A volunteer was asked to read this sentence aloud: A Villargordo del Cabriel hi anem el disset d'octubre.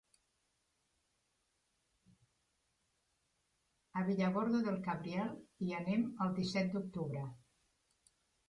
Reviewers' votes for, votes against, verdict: 0, 2, rejected